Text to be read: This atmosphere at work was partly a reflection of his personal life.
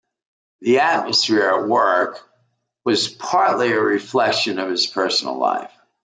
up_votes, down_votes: 0, 2